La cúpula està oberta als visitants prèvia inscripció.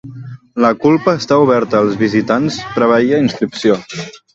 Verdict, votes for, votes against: rejected, 0, 3